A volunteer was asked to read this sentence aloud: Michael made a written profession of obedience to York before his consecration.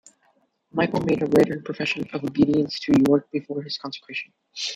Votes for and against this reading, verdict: 1, 2, rejected